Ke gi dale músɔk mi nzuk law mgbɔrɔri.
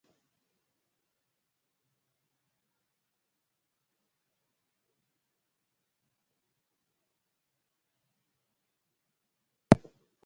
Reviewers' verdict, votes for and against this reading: rejected, 0, 2